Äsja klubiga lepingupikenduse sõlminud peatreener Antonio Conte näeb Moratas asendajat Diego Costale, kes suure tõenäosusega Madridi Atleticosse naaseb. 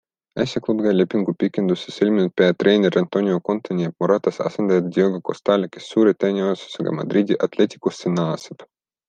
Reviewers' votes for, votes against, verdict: 2, 1, accepted